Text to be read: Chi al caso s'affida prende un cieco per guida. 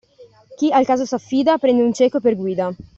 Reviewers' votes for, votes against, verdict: 2, 0, accepted